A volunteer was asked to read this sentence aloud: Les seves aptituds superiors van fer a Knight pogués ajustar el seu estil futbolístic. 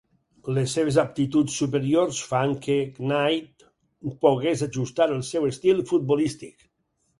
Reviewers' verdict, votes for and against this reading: rejected, 0, 4